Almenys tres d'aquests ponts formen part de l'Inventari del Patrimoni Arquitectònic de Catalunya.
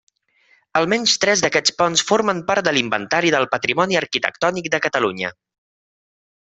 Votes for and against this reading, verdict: 3, 0, accepted